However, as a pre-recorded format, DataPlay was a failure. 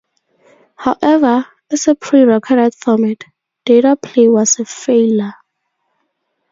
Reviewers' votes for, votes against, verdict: 2, 0, accepted